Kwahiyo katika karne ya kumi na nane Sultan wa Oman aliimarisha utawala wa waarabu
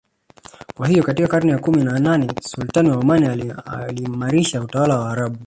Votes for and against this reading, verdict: 1, 2, rejected